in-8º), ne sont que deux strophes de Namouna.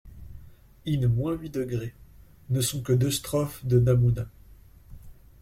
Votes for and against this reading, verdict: 0, 2, rejected